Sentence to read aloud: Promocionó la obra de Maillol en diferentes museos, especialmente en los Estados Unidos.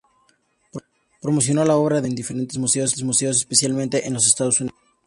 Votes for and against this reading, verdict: 0, 2, rejected